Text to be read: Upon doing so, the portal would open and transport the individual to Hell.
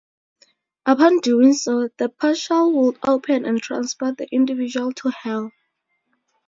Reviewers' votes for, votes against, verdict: 2, 2, rejected